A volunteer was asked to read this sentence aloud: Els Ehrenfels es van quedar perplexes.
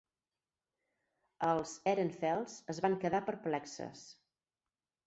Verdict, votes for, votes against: rejected, 2, 4